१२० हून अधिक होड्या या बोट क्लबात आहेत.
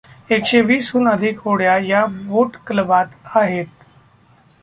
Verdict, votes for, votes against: rejected, 0, 2